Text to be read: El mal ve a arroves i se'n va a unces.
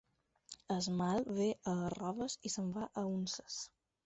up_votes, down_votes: 2, 4